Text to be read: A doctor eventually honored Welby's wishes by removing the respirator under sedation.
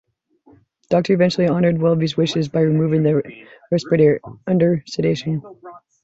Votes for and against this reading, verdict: 1, 2, rejected